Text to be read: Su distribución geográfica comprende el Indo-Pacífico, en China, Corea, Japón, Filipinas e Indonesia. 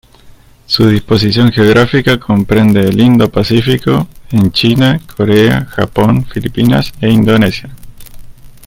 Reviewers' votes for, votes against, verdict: 0, 2, rejected